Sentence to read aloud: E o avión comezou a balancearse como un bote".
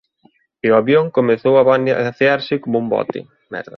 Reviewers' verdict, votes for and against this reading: rejected, 0, 2